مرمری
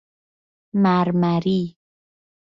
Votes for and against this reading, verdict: 2, 0, accepted